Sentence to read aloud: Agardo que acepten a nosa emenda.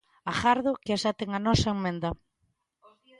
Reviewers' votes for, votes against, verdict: 1, 2, rejected